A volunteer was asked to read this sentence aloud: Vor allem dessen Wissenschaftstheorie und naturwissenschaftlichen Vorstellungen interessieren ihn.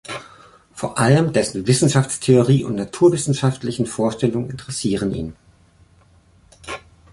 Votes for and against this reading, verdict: 3, 0, accepted